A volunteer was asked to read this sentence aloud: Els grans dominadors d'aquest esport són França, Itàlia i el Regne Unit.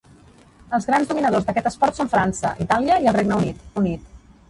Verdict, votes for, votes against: rejected, 1, 2